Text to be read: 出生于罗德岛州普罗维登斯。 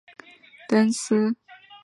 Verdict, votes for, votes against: rejected, 0, 2